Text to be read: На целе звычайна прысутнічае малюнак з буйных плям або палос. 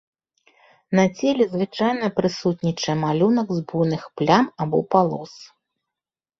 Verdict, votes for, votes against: rejected, 0, 2